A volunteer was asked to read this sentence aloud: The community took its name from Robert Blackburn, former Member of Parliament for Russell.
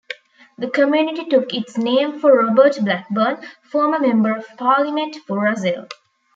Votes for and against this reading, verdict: 0, 2, rejected